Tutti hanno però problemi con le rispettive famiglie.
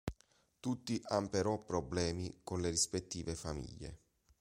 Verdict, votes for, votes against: rejected, 1, 2